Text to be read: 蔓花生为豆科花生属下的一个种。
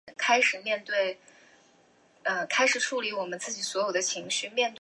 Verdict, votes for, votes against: rejected, 0, 2